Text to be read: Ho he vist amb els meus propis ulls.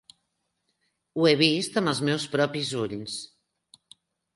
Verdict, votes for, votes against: accepted, 2, 0